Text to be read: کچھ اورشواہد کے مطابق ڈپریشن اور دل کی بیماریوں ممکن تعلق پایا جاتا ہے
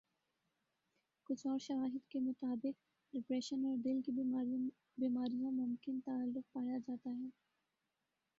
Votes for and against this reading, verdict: 3, 5, rejected